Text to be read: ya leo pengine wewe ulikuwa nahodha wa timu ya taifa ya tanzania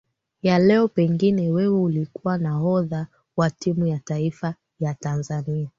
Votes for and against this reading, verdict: 2, 1, accepted